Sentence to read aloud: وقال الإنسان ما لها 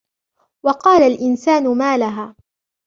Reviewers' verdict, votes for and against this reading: accepted, 2, 1